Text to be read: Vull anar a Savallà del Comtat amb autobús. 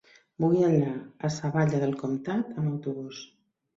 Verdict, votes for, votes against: rejected, 0, 2